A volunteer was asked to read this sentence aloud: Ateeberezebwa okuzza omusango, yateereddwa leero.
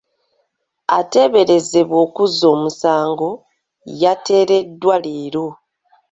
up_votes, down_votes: 2, 0